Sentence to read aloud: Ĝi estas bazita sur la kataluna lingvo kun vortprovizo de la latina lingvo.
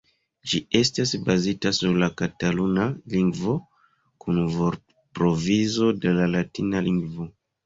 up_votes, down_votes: 2, 0